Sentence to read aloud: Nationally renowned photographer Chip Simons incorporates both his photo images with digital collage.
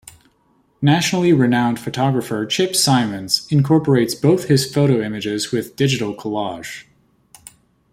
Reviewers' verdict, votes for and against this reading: accepted, 2, 0